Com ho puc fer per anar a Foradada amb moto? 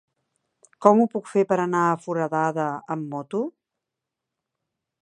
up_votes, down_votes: 3, 0